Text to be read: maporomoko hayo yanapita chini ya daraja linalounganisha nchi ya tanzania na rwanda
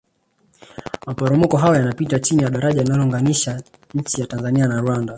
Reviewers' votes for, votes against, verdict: 1, 2, rejected